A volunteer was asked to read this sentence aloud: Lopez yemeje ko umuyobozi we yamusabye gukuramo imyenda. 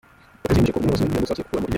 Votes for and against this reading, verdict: 0, 2, rejected